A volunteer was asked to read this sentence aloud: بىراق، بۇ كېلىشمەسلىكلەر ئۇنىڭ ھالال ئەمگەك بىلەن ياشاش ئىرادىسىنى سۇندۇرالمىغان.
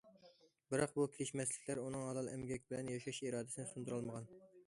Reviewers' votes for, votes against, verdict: 2, 0, accepted